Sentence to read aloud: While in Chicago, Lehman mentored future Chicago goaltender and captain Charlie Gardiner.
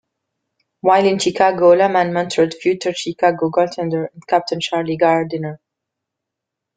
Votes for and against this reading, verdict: 0, 2, rejected